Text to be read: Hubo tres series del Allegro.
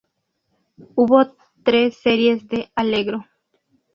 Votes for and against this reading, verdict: 2, 0, accepted